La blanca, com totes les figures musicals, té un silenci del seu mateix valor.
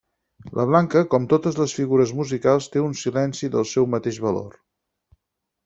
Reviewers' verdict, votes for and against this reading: accepted, 6, 0